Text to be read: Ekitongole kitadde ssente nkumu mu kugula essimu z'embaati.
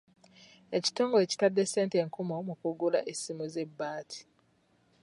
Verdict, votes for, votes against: rejected, 1, 2